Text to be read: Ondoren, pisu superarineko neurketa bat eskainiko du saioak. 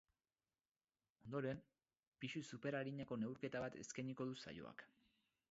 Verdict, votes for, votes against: rejected, 0, 2